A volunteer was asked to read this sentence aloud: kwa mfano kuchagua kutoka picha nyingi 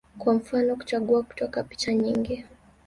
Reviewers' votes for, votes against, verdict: 1, 2, rejected